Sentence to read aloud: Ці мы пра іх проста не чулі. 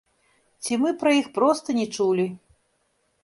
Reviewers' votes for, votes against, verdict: 1, 2, rejected